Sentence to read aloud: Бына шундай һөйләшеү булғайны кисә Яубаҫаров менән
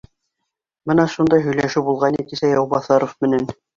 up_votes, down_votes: 2, 1